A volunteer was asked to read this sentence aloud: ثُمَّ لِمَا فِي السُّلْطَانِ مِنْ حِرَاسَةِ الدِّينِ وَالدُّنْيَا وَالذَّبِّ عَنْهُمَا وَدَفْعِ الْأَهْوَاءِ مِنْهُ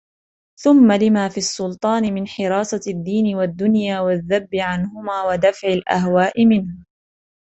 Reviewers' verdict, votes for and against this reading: rejected, 1, 2